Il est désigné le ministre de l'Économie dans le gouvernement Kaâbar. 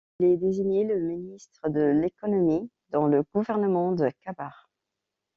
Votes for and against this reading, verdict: 1, 2, rejected